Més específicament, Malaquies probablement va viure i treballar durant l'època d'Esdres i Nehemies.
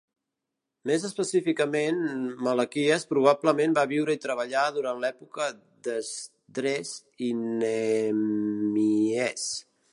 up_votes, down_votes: 1, 2